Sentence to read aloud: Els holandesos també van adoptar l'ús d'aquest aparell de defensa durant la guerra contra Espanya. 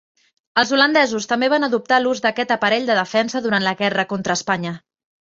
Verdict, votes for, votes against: accepted, 3, 0